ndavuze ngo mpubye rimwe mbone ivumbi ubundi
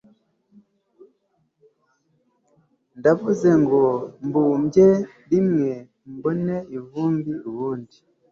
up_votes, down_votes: 2, 0